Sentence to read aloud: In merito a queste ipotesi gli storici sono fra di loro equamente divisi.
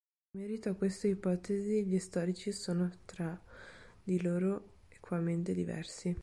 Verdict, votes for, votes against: rejected, 0, 2